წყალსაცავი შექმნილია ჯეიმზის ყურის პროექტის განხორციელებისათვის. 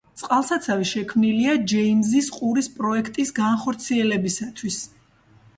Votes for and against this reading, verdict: 1, 2, rejected